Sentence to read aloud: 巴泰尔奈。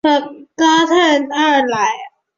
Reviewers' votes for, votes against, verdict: 1, 3, rejected